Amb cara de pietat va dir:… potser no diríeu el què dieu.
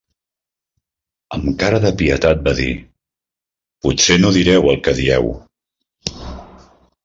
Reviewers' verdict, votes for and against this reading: rejected, 0, 2